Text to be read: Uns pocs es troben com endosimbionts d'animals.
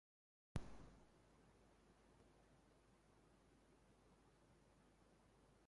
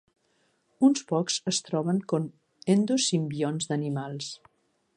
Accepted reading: second